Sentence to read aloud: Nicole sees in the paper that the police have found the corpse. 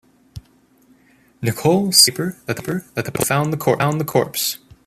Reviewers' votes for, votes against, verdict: 0, 2, rejected